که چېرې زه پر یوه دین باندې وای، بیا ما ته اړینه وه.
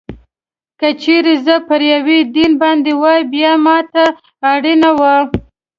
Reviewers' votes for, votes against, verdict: 2, 0, accepted